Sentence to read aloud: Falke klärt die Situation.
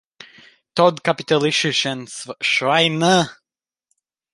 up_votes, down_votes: 0, 2